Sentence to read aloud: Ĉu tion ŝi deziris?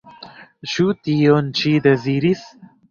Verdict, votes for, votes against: accepted, 2, 0